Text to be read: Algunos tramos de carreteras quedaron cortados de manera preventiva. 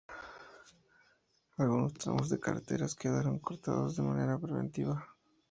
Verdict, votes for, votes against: accepted, 2, 0